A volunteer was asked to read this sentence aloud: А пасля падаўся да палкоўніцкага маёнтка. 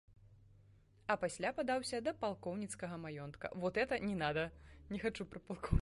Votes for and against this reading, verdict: 0, 2, rejected